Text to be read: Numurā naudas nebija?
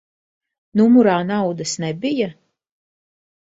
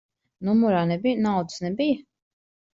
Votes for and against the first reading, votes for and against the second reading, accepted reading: 2, 1, 0, 2, first